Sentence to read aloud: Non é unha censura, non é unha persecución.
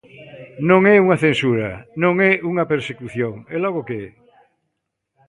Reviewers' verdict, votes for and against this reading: rejected, 0, 2